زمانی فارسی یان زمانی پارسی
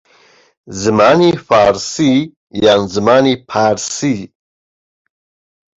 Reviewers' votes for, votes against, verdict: 2, 0, accepted